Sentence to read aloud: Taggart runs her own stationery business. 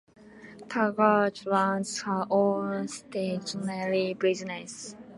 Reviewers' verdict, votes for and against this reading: accepted, 2, 0